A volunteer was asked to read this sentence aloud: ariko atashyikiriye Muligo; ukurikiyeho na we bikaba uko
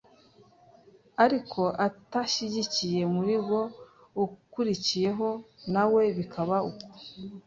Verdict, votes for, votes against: rejected, 1, 2